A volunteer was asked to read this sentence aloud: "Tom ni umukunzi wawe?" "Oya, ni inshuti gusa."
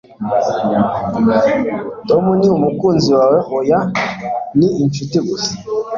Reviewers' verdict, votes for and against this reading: accepted, 2, 0